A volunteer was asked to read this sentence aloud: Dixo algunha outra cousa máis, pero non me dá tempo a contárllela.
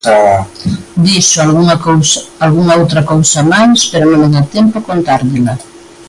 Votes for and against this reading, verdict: 1, 2, rejected